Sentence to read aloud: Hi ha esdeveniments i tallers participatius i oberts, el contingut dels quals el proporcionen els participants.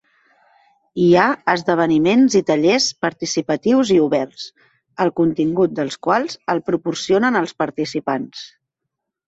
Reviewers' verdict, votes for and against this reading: accepted, 3, 0